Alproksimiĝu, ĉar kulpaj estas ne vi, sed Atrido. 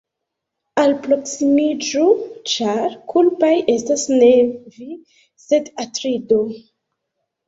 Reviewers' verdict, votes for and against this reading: rejected, 0, 2